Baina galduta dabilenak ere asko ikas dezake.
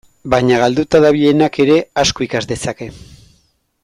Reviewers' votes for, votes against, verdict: 2, 0, accepted